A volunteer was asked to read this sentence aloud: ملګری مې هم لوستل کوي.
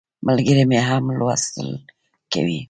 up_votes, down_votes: 0, 2